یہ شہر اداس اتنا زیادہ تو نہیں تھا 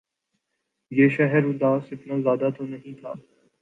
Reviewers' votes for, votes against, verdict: 2, 0, accepted